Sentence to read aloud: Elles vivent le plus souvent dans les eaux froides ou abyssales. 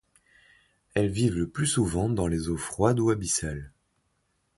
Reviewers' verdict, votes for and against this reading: accepted, 2, 0